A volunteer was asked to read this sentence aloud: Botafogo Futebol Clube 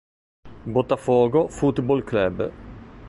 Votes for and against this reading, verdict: 1, 2, rejected